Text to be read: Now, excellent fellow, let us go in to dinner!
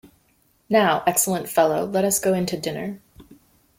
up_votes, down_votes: 2, 0